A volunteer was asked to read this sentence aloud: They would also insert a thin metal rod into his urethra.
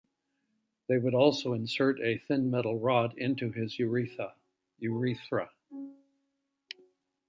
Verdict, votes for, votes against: rejected, 0, 2